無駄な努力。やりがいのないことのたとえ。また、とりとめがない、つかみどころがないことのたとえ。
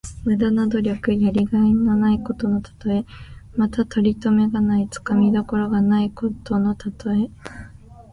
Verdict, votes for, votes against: accepted, 2, 1